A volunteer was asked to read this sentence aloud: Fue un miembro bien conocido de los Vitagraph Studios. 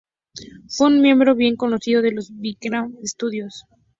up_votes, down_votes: 0, 2